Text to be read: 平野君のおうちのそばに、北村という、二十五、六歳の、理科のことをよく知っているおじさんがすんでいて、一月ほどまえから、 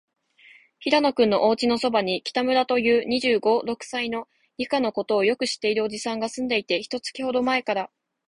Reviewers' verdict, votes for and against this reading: accepted, 2, 0